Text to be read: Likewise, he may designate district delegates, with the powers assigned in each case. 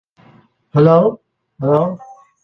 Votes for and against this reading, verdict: 0, 2, rejected